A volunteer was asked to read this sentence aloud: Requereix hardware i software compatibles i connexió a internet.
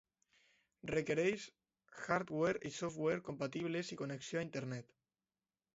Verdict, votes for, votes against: accepted, 2, 0